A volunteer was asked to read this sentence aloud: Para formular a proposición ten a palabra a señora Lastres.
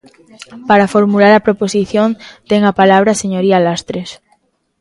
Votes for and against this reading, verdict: 0, 2, rejected